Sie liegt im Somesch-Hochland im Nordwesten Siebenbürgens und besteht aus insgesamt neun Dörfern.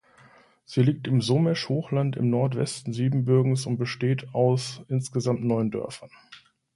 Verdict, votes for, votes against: accepted, 2, 0